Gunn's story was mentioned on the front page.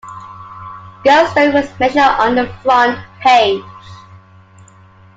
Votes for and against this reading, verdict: 0, 2, rejected